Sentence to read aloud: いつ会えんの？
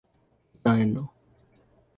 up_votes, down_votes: 1, 2